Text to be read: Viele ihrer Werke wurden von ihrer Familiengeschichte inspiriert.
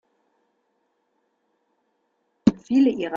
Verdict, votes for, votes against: rejected, 1, 3